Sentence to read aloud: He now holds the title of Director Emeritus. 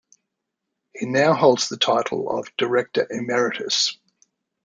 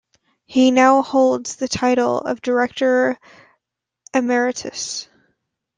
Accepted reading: first